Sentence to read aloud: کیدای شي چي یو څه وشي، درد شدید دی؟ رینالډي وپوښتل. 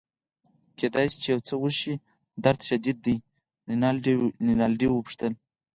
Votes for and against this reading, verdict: 4, 0, accepted